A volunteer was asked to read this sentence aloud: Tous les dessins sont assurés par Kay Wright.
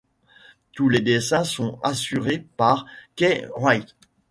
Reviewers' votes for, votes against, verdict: 1, 2, rejected